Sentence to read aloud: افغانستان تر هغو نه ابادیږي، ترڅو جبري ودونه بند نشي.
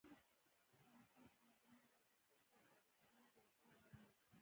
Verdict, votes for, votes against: rejected, 0, 2